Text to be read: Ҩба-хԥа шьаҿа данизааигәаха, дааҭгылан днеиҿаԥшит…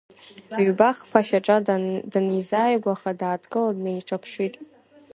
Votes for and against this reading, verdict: 2, 4, rejected